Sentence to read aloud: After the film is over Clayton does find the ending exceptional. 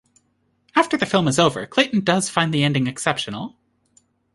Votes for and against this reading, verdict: 2, 0, accepted